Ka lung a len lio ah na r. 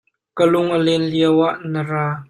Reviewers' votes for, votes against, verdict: 1, 2, rejected